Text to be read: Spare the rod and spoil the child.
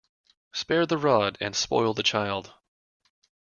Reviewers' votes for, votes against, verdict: 2, 0, accepted